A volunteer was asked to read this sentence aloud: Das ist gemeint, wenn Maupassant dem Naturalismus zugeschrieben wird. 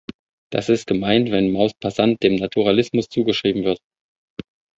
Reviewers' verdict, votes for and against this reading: rejected, 0, 2